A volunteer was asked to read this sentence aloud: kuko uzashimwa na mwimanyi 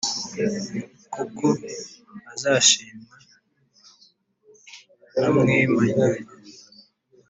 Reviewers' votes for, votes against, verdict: 1, 2, rejected